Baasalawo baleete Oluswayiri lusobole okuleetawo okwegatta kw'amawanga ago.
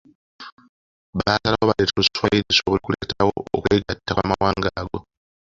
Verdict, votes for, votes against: rejected, 1, 2